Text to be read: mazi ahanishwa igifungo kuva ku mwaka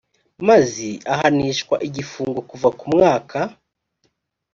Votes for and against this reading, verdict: 3, 0, accepted